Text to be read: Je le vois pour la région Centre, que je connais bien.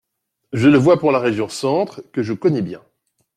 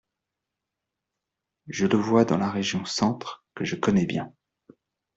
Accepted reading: first